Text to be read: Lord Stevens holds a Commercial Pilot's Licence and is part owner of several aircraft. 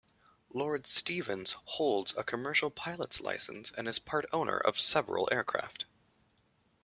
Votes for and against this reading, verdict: 2, 0, accepted